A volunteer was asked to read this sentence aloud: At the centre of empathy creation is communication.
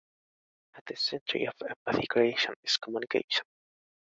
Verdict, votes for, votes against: accepted, 2, 0